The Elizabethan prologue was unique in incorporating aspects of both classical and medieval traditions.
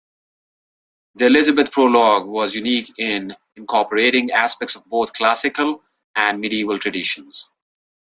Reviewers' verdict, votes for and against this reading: rejected, 1, 2